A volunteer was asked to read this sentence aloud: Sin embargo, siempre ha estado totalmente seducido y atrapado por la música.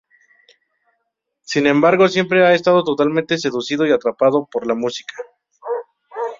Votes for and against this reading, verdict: 2, 0, accepted